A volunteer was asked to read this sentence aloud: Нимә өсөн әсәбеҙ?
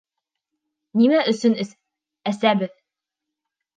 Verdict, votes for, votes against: rejected, 1, 2